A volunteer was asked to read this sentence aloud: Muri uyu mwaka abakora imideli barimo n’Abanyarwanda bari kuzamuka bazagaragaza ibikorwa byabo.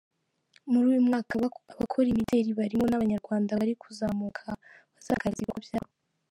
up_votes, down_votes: 0, 2